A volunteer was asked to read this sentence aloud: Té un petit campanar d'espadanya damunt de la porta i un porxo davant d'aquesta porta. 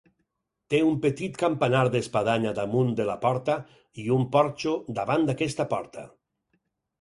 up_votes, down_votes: 4, 0